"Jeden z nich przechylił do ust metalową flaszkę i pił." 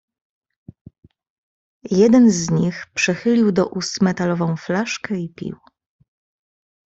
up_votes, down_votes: 2, 0